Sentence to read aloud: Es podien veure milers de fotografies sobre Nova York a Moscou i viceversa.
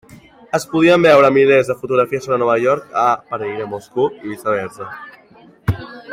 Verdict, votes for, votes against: rejected, 0, 2